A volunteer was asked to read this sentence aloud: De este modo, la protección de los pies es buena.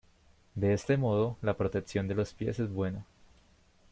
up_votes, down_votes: 2, 0